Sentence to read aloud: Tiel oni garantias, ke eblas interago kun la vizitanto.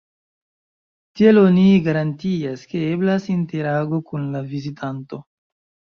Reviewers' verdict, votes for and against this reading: accepted, 2, 0